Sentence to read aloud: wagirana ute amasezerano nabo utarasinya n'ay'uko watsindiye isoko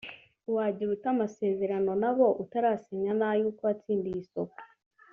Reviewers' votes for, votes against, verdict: 1, 2, rejected